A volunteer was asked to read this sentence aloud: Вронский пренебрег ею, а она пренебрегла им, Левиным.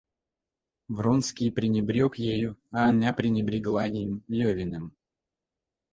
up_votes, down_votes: 0, 4